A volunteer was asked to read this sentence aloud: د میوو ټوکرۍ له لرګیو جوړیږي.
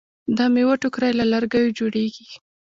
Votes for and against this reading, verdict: 0, 2, rejected